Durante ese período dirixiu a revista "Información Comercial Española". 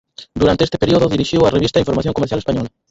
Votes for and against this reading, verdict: 0, 4, rejected